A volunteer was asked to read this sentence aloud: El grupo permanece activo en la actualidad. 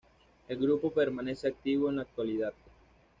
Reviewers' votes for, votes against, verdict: 2, 0, accepted